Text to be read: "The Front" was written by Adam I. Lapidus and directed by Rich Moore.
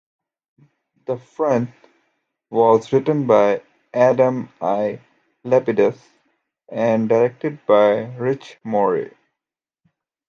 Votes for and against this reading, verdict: 2, 0, accepted